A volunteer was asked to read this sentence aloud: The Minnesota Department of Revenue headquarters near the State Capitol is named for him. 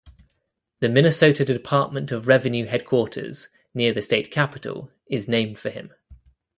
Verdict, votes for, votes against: accepted, 2, 0